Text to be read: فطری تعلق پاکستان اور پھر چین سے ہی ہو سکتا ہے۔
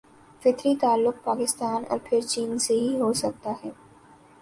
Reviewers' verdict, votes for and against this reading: accepted, 2, 0